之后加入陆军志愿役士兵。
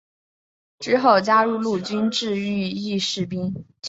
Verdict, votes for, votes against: accepted, 4, 0